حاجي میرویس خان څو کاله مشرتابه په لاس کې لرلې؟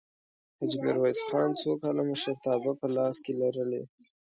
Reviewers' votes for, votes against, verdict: 2, 0, accepted